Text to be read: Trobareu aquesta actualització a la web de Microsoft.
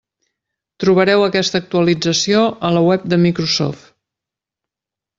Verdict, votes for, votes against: accepted, 3, 0